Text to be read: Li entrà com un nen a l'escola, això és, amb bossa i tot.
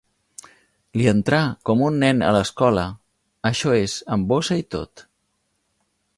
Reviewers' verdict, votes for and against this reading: accepted, 2, 0